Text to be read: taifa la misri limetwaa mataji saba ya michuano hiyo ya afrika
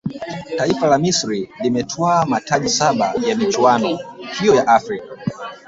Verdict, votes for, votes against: accepted, 2, 1